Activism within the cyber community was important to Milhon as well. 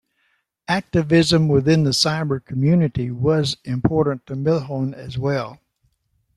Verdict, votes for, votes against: accepted, 2, 1